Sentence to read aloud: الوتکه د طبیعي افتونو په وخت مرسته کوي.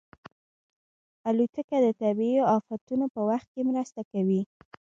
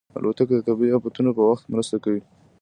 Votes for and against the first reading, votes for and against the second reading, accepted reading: 1, 2, 2, 0, second